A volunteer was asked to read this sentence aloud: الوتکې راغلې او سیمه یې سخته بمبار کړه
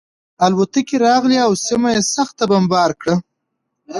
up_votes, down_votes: 2, 0